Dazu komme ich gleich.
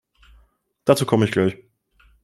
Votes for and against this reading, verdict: 2, 0, accepted